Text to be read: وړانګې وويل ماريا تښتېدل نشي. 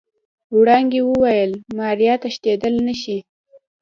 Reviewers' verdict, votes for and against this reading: accepted, 2, 0